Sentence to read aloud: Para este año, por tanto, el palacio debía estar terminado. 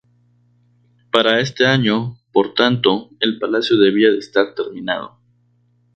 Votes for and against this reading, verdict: 2, 0, accepted